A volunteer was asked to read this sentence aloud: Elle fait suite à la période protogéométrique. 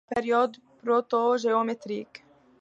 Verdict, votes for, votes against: rejected, 1, 3